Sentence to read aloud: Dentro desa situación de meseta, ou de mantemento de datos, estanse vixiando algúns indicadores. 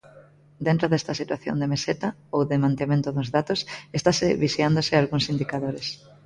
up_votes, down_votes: 0, 3